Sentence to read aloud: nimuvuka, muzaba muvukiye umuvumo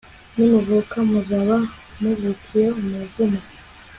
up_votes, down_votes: 2, 0